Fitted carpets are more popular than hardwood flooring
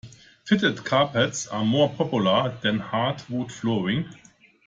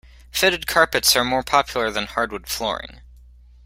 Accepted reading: first